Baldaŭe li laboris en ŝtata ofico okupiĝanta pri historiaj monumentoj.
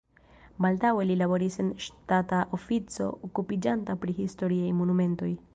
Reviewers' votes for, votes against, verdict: 1, 2, rejected